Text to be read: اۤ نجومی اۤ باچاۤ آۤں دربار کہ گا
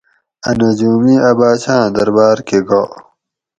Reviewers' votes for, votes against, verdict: 2, 2, rejected